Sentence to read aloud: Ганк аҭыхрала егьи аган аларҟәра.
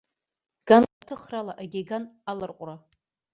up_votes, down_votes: 0, 2